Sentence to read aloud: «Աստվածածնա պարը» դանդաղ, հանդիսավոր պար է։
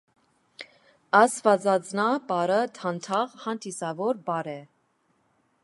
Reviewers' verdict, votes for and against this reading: accepted, 2, 0